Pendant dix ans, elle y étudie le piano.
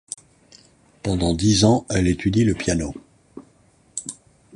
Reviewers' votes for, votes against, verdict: 1, 2, rejected